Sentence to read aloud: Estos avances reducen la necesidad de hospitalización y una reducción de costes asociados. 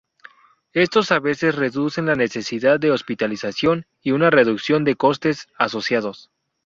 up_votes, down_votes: 0, 2